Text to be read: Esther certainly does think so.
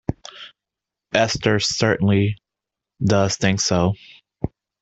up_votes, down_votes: 2, 0